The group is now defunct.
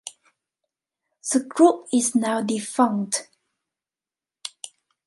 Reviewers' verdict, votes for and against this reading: rejected, 0, 2